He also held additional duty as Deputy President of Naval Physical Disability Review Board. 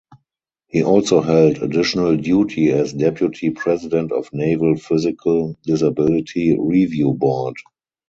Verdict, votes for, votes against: rejected, 2, 2